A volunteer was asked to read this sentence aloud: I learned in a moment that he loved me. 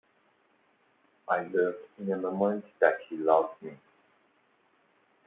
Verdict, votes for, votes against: accepted, 2, 1